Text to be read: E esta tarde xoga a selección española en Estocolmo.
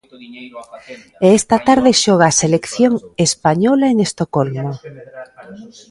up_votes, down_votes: 1, 2